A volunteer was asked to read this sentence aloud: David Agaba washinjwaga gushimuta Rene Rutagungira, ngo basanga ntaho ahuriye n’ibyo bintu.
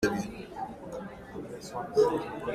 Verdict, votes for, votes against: rejected, 0, 3